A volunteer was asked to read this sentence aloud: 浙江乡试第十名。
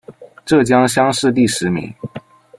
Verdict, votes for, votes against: accepted, 2, 0